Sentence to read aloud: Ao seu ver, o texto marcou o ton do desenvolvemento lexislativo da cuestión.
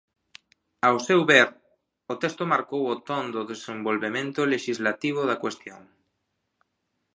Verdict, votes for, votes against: accepted, 3, 0